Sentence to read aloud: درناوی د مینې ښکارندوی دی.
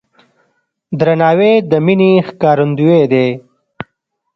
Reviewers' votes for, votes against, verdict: 2, 0, accepted